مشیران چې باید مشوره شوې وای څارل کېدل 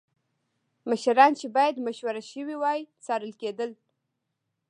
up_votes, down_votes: 1, 2